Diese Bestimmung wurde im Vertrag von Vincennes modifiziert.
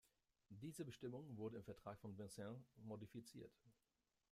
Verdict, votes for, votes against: rejected, 0, 2